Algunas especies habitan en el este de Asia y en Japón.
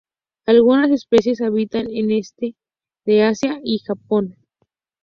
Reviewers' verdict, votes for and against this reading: rejected, 0, 2